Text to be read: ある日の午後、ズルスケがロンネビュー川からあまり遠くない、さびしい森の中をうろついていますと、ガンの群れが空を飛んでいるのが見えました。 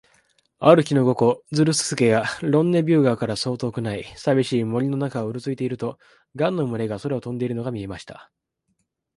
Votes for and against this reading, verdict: 0, 2, rejected